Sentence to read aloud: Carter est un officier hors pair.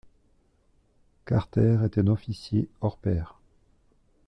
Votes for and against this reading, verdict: 2, 0, accepted